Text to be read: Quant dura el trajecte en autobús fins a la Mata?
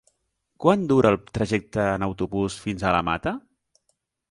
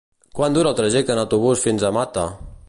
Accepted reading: first